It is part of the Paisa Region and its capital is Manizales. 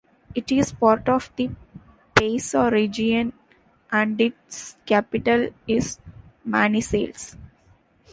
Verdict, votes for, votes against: rejected, 1, 2